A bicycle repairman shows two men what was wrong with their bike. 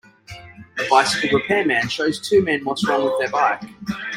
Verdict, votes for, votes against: accepted, 3, 0